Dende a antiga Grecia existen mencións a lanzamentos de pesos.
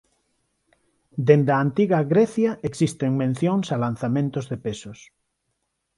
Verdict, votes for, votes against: accepted, 4, 0